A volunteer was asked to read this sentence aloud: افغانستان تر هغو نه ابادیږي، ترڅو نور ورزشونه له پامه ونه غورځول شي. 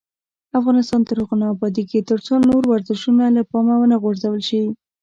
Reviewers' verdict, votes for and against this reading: rejected, 1, 2